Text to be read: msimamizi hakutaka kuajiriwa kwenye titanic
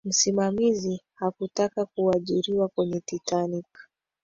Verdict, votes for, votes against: accepted, 2, 1